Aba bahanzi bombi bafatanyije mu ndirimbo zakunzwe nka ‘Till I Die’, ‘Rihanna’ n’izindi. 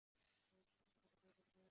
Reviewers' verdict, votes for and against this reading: rejected, 0, 2